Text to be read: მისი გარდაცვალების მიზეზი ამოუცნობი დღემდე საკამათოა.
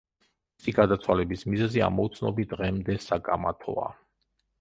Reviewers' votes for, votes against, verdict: 0, 2, rejected